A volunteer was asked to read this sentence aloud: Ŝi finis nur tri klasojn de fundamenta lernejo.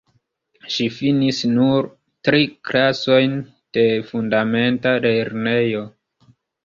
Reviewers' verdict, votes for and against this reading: rejected, 0, 2